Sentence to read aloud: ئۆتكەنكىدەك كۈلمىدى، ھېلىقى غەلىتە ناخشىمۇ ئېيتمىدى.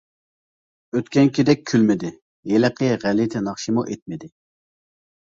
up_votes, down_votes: 2, 0